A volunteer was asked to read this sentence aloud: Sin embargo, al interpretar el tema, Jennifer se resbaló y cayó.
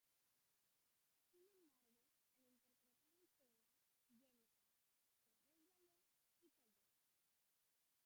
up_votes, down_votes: 0, 2